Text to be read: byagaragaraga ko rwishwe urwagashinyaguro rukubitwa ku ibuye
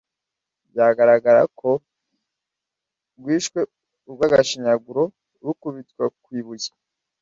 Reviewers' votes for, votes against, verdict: 1, 2, rejected